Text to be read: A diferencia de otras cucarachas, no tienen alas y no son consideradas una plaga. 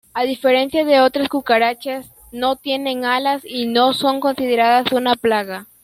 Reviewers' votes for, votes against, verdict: 2, 0, accepted